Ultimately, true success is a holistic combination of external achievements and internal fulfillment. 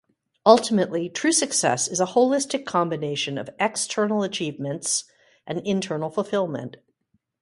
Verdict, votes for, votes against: accepted, 2, 0